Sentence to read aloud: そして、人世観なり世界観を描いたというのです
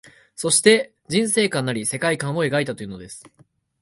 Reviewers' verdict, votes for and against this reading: accepted, 2, 1